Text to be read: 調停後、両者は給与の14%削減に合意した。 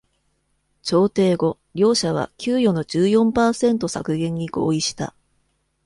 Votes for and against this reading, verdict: 0, 2, rejected